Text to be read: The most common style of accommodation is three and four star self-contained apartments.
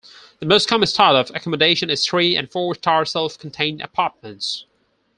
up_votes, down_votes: 4, 2